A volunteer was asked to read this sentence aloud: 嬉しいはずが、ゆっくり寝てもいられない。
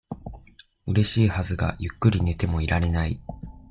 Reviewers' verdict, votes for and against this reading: accepted, 2, 0